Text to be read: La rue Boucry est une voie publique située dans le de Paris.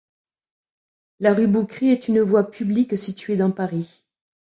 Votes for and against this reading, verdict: 2, 1, accepted